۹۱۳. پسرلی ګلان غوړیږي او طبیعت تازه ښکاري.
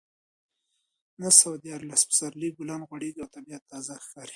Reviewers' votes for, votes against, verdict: 0, 2, rejected